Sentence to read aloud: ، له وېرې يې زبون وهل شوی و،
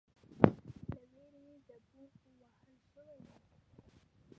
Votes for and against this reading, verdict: 0, 2, rejected